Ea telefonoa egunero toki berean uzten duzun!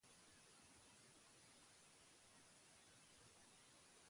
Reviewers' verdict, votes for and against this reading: rejected, 2, 2